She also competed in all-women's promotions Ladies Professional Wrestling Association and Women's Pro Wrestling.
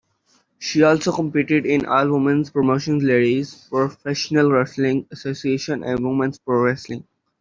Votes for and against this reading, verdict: 0, 2, rejected